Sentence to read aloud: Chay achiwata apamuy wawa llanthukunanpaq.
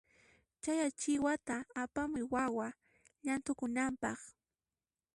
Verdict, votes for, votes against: accepted, 2, 0